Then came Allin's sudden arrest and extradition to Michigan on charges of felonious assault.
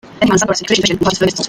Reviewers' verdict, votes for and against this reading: rejected, 0, 2